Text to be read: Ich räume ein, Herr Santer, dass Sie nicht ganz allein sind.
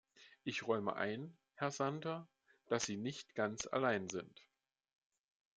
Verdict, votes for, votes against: accepted, 2, 0